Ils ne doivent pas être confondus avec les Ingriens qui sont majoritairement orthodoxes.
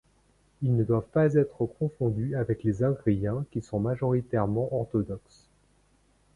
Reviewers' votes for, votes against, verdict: 2, 1, accepted